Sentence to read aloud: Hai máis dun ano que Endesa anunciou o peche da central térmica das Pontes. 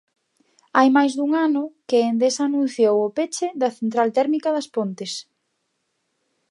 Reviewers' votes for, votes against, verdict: 3, 0, accepted